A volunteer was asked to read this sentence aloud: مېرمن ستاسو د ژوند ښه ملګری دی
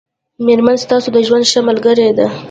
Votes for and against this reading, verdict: 3, 1, accepted